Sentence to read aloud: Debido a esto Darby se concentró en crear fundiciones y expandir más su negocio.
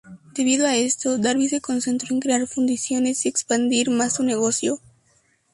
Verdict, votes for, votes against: accepted, 2, 0